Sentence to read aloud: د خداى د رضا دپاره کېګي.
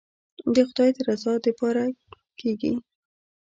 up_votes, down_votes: 1, 2